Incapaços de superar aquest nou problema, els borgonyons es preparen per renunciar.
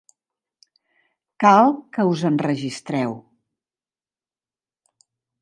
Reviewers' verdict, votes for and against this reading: rejected, 0, 2